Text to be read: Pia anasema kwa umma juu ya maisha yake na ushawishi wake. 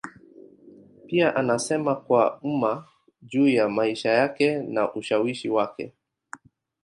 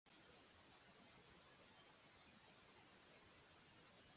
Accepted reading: first